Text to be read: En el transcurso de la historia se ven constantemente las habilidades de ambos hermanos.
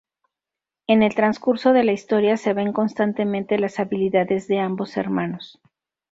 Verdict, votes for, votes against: accepted, 4, 0